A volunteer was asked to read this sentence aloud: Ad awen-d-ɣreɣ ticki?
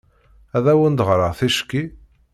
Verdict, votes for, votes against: accepted, 2, 0